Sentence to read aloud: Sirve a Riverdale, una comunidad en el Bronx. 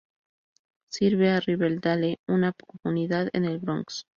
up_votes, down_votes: 2, 0